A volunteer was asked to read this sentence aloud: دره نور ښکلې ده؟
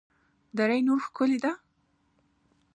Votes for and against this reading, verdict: 2, 1, accepted